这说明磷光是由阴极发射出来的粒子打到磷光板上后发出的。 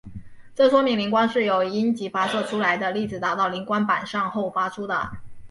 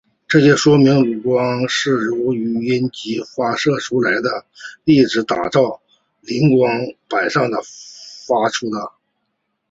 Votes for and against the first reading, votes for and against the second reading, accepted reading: 4, 0, 0, 2, first